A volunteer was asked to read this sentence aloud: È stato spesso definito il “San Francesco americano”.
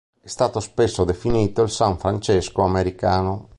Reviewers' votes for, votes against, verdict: 2, 0, accepted